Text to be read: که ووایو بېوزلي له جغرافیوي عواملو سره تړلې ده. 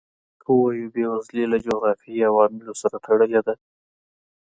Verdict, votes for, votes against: accepted, 2, 0